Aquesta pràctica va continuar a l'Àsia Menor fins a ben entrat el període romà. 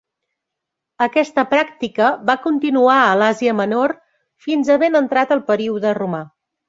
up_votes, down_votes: 2, 0